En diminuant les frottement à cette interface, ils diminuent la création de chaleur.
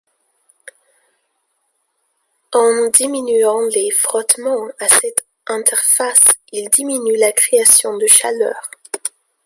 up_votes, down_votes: 2, 0